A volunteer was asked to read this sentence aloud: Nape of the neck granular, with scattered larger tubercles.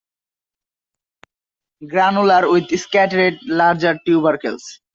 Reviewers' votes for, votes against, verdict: 0, 2, rejected